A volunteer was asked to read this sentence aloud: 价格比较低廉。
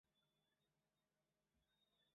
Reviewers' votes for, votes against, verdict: 0, 2, rejected